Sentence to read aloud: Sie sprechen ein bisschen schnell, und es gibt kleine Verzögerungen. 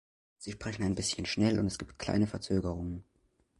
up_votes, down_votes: 2, 0